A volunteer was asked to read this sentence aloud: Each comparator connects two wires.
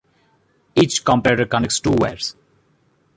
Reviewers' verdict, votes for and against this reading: accepted, 2, 1